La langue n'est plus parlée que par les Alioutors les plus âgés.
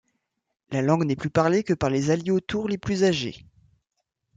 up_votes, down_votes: 2, 0